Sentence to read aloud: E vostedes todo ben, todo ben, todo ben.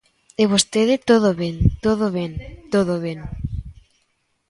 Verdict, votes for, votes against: rejected, 0, 2